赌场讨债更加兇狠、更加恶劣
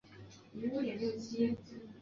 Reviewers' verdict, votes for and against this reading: rejected, 1, 2